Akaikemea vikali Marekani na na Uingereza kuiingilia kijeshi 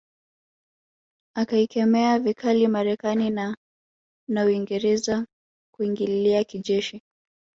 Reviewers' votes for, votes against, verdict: 1, 2, rejected